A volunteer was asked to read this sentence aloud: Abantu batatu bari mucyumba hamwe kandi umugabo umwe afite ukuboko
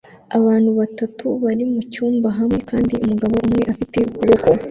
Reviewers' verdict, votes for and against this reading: accepted, 2, 1